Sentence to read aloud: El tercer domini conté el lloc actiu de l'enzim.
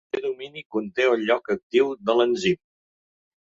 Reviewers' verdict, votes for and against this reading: rejected, 0, 2